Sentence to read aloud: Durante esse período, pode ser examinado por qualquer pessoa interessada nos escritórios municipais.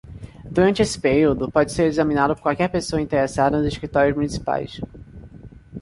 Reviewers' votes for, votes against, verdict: 0, 2, rejected